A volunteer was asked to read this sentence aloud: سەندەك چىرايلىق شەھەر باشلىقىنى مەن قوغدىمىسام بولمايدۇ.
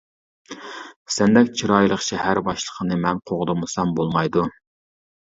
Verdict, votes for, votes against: accepted, 2, 0